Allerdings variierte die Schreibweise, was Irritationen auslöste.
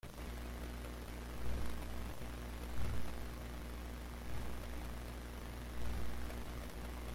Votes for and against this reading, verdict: 0, 2, rejected